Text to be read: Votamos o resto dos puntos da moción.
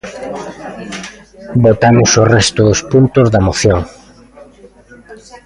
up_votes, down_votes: 2, 1